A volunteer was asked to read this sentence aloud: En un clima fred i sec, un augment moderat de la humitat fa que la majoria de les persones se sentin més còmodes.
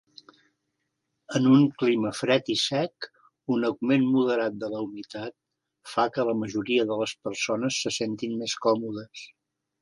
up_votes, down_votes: 3, 0